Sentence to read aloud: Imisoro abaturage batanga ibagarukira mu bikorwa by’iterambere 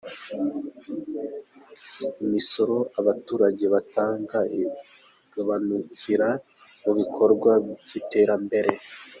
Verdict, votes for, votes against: rejected, 0, 2